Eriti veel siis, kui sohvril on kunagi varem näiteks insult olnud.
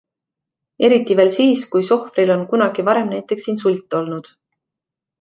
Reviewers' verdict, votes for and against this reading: accepted, 2, 0